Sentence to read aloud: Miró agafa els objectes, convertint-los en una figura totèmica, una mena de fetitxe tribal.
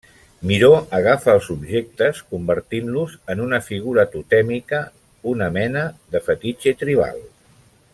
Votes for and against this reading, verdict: 2, 0, accepted